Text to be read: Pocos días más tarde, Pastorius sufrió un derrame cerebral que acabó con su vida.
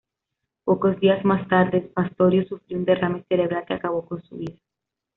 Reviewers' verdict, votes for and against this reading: accepted, 2, 0